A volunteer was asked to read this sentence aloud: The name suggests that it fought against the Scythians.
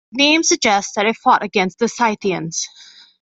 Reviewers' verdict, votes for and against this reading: rejected, 1, 2